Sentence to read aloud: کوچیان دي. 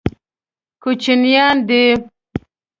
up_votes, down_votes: 1, 2